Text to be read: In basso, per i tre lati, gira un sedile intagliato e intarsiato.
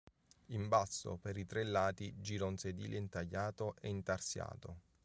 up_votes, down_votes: 3, 0